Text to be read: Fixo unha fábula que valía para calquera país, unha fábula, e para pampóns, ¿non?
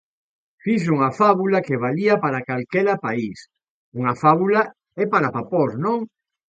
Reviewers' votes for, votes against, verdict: 1, 2, rejected